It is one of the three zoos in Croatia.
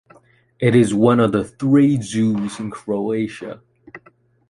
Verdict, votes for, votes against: accepted, 2, 0